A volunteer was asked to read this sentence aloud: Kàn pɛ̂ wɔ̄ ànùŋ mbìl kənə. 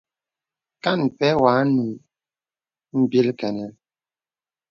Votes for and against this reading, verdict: 2, 0, accepted